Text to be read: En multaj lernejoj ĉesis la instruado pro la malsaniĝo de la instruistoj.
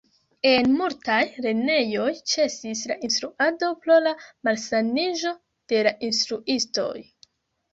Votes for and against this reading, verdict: 0, 2, rejected